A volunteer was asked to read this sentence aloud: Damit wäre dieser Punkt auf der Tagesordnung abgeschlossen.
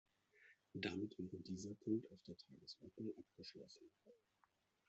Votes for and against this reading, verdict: 0, 2, rejected